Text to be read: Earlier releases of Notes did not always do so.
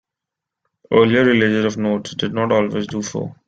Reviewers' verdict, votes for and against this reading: rejected, 1, 3